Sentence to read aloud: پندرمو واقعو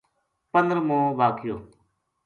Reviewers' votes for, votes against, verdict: 2, 0, accepted